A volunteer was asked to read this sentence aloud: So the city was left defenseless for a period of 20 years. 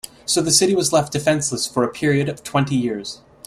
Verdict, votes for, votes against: rejected, 0, 2